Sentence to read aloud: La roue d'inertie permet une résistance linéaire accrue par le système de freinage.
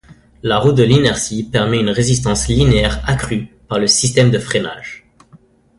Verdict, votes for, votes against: rejected, 1, 2